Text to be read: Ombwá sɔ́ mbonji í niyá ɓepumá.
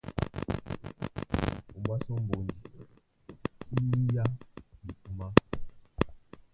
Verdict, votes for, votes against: rejected, 1, 2